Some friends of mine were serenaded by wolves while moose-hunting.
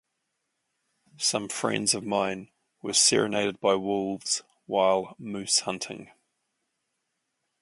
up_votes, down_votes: 2, 0